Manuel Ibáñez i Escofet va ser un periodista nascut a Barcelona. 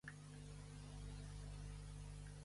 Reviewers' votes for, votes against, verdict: 0, 2, rejected